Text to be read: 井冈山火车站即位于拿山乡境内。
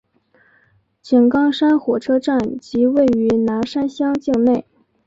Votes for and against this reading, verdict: 2, 0, accepted